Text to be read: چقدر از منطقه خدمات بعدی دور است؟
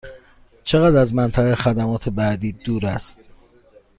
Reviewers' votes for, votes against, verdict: 2, 0, accepted